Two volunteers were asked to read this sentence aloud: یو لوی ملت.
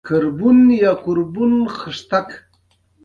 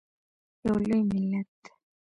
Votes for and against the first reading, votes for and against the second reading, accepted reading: 0, 2, 2, 0, second